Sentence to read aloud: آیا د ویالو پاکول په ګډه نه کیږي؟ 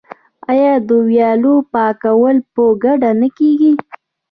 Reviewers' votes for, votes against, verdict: 1, 2, rejected